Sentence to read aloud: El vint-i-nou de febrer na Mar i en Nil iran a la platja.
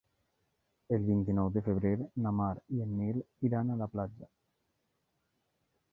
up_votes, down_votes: 4, 0